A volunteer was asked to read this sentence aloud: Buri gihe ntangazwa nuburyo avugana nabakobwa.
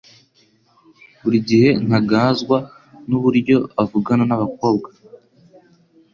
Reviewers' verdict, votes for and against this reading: rejected, 1, 2